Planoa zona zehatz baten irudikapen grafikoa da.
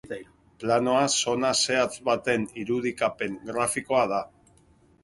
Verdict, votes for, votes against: accepted, 2, 0